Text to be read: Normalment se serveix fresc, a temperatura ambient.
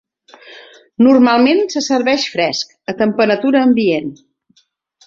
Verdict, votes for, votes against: accepted, 3, 0